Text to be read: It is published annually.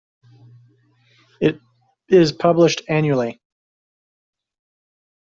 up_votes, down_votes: 2, 0